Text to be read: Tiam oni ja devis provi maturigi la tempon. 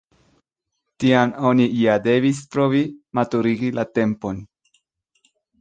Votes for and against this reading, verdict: 2, 0, accepted